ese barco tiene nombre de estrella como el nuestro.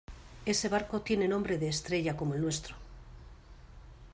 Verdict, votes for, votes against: accepted, 2, 0